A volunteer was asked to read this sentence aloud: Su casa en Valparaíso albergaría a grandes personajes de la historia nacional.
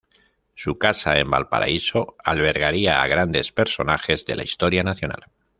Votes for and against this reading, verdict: 2, 0, accepted